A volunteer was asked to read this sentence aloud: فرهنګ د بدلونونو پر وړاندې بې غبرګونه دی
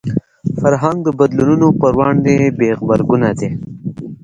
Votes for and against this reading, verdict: 1, 2, rejected